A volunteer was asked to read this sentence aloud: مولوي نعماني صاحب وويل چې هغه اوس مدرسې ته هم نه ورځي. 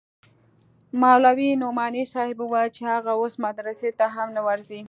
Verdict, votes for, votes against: rejected, 0, 2